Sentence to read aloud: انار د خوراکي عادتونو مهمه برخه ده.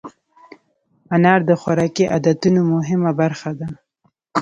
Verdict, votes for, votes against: accepted, 2, 0